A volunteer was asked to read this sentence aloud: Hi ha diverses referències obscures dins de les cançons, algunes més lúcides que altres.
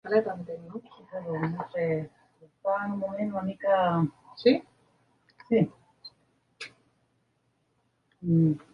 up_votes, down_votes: 0, 2